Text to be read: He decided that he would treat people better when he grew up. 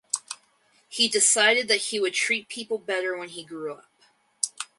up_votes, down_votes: 4, 0